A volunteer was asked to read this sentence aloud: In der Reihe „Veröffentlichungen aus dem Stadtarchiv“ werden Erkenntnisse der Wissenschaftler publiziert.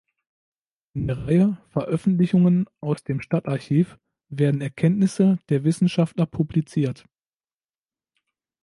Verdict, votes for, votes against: rejected, 1, 2